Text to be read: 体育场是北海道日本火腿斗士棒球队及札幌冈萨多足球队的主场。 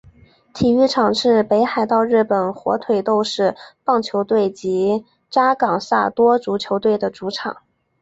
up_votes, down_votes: 0, 3